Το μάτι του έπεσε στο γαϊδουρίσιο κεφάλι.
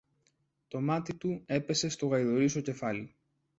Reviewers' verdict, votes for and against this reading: accepted, 2, 0